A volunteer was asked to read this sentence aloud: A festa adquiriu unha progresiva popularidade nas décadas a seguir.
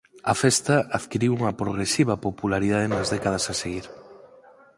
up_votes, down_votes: 4, 0